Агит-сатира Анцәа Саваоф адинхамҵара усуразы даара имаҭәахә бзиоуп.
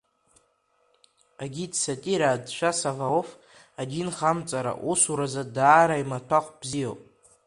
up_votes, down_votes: 0, 2